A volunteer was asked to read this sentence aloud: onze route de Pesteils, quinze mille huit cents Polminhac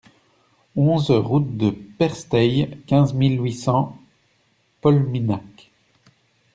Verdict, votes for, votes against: rejected, 0, 2